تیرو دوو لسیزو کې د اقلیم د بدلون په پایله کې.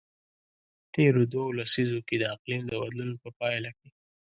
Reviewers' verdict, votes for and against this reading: accepted, 2, 0